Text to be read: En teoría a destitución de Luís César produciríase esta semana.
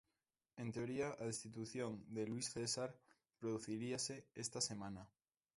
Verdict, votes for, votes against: accepted, 2, 1